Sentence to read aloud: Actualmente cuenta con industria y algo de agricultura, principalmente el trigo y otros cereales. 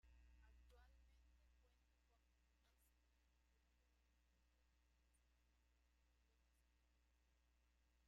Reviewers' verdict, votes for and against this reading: rejected, 0, 2